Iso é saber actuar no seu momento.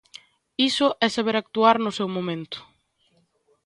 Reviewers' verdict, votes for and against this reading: accepted, 2, 0